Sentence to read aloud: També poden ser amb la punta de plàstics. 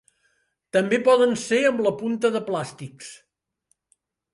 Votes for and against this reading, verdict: 2, 0, accepted